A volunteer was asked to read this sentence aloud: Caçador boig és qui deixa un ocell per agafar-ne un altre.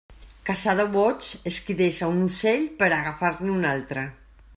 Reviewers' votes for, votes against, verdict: 2, 1, accepted